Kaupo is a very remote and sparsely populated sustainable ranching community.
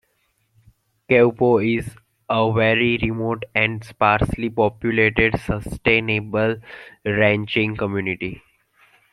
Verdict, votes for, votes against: accepted, 2, 1